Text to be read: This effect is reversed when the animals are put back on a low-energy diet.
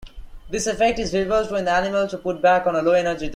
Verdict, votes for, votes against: rejected, 0, 2